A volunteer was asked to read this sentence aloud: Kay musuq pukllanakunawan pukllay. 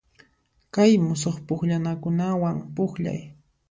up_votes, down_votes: 2, 0